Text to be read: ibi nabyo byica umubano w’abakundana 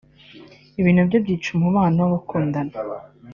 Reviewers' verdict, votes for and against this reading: rejected, 0, 2